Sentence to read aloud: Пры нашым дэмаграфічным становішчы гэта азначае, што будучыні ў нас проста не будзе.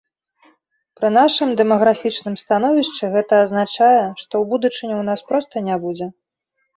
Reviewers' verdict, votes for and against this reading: rejected, 1, 2